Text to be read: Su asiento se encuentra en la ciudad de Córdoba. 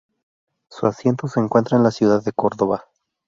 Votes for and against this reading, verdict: 2, 0, accepted